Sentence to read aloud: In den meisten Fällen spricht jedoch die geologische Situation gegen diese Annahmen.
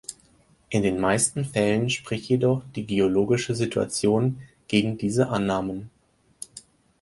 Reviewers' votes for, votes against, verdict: 4, 0, accepted